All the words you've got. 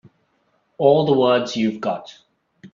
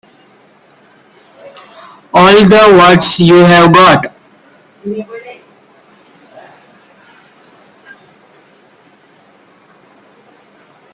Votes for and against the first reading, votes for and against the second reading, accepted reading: 2, 0, 2, 4, first